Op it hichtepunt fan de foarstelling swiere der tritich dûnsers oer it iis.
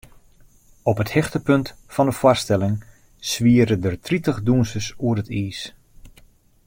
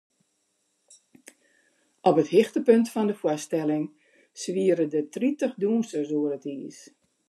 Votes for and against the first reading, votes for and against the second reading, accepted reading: 1, 2, 2, 0, second